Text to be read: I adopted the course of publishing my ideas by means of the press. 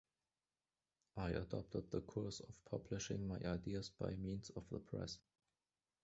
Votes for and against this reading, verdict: 2, 1, accepted